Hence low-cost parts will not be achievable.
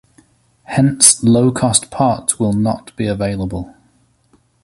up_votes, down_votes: 0, 2